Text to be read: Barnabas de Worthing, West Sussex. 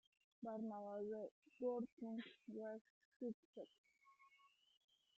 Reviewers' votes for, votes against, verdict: 0, 2, rejected